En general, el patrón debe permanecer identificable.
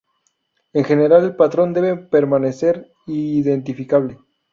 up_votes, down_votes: 2, 2